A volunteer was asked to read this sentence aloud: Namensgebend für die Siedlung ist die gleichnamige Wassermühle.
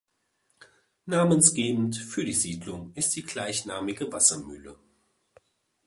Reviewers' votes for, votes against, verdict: 2, 0, accepted